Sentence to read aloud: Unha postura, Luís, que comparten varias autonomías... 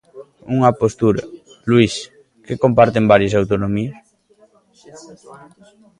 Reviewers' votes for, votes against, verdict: 1, 2, rejected